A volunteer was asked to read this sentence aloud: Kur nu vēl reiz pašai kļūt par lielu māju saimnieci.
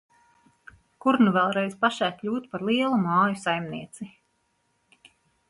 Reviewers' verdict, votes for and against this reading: accepted, 2, 1